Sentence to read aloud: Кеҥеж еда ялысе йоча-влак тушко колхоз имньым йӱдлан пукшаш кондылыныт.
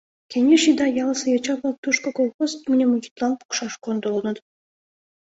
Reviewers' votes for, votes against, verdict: 2, 1, accepted